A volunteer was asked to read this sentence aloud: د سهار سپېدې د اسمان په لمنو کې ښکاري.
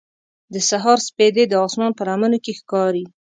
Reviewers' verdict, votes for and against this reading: accepted, 2, 0